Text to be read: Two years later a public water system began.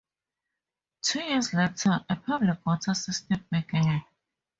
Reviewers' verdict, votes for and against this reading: accepted, 4, 0